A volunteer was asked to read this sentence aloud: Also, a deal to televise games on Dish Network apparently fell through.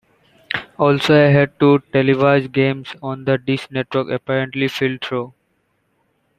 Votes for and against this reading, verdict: 0, 2, rejected